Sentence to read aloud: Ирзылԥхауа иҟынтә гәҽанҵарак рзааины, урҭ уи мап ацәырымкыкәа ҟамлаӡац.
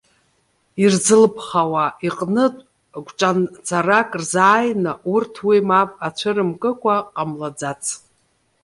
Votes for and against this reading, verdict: 0, 2, rejected